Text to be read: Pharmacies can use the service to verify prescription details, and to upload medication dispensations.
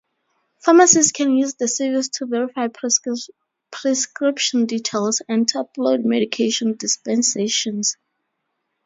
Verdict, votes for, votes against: rejected, 2, 4